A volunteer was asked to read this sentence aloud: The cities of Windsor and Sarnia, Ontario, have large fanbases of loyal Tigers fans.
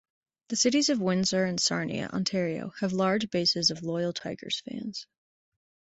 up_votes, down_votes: 0, 2